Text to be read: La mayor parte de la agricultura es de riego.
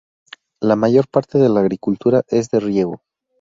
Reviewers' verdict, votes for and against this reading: accepted, 2, 0